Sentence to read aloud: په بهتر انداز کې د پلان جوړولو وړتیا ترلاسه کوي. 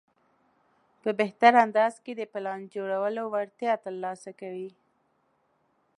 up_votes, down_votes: 2, 0